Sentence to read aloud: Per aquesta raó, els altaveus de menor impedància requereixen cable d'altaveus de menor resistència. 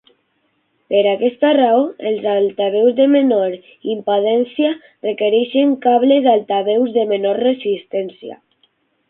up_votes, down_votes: 0, 6